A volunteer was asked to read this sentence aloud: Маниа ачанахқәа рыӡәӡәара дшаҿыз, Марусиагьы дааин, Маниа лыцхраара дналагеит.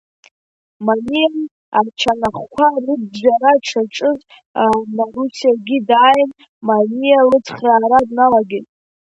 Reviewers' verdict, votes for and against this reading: rejected, 1, 2